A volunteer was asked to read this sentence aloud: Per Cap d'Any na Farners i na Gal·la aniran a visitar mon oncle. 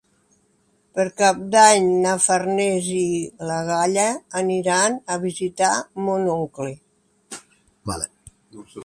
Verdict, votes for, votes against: rejected, 0, 3